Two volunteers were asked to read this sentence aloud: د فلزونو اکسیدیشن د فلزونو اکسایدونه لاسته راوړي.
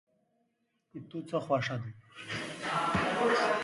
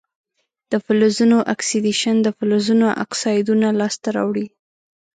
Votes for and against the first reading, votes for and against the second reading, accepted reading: 1, 2, 5, 1, second